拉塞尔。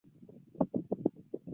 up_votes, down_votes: 0, 2